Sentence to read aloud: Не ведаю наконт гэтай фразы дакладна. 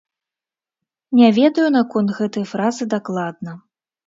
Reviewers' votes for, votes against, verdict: 2, 0, accepted